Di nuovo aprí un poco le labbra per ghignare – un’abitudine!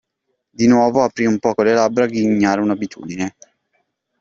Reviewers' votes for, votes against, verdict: 0, 2, rejected